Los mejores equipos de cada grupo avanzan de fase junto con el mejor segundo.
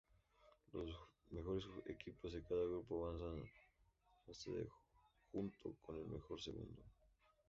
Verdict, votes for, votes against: rejected, 2, 2